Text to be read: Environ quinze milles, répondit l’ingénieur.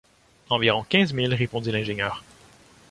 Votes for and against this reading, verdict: 2, 0, accepted